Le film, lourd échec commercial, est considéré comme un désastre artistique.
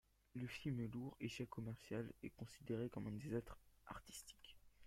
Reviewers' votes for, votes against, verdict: 1, 2, rejected